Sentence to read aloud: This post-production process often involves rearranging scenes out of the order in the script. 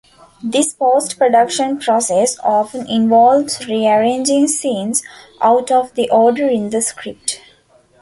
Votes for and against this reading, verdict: 2, 0, accepted